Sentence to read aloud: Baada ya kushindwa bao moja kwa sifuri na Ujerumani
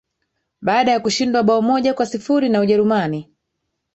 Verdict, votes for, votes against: accepted, 3, 1